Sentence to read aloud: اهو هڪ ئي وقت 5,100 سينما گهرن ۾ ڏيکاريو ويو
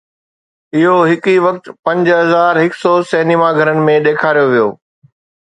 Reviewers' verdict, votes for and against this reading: rejected, 0, 2